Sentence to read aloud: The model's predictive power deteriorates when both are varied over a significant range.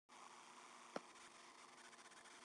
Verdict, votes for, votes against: rejected, 0, 2